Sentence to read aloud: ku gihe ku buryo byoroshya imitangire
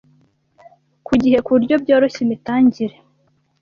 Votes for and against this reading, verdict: 2, 0, accepted